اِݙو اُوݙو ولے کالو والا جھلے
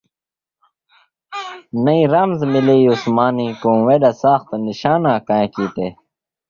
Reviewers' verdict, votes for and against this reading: rejected, 0, 2